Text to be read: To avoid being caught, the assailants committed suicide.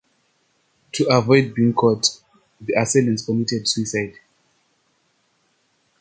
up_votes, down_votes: 2, 0